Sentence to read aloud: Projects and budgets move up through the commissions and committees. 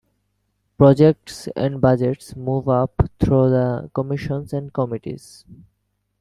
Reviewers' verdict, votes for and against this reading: accepted, 2, 0